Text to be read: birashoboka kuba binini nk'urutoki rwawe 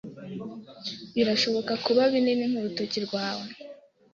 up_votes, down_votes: 2, 0